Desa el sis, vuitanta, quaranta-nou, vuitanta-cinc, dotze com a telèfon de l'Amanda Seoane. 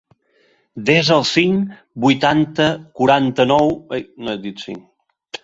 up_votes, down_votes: 0, 2